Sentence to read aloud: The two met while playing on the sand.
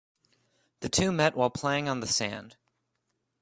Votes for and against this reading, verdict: 2, 0, accepted